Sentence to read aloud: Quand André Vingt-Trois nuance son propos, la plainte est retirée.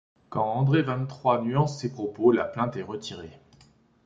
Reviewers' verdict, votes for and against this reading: rejected, 0, 2